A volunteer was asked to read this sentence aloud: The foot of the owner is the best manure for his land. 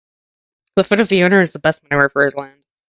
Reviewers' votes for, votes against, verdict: 2, 0, accepted